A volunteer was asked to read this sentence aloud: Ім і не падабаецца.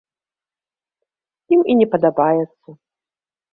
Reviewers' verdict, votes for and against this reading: accepted, 2, 0